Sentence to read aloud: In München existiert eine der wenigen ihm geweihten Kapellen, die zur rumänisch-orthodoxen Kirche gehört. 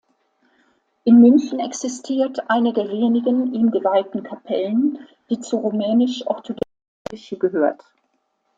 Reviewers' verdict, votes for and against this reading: rejected, 0, 2